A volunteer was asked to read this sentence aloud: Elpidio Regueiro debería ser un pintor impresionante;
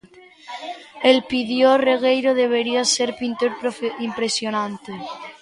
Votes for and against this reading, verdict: 0, 2, rejected